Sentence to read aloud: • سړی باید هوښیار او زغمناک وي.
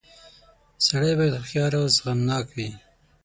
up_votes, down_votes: 6, 0